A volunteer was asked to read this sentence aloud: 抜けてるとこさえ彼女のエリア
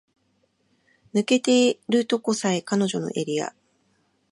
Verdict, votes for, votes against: rejected, 2, 5